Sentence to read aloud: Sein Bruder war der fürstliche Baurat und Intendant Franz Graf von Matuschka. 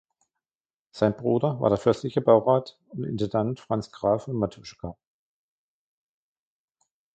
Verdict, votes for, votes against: rejected, 1, 2